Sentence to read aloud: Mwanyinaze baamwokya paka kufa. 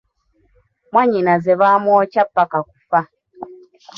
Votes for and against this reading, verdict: 2, 1, accepted